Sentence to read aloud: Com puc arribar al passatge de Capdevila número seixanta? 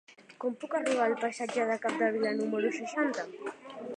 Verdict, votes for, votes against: accepted, 3, 1